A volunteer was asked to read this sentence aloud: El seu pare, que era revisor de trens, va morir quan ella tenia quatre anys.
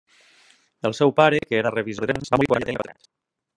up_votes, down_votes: 0, 2